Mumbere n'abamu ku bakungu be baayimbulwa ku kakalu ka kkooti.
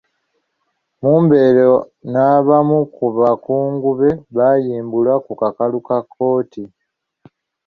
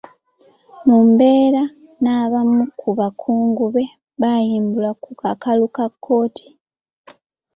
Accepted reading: second